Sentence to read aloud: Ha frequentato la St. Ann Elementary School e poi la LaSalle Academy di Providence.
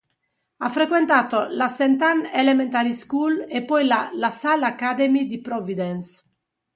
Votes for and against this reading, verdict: 2, 0, accepted